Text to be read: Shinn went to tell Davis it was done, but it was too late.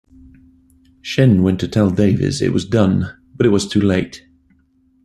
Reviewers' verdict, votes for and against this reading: accepted, 2, 0